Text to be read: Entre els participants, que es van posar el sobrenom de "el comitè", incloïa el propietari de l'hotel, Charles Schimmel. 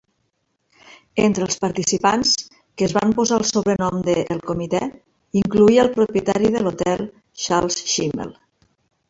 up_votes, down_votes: 1, 2